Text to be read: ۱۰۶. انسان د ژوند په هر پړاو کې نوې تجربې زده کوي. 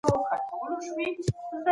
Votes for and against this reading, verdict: 0, 2, rejected